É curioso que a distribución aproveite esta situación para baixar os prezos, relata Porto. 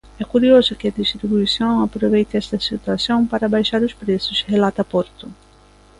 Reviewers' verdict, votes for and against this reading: rejected, 1, 2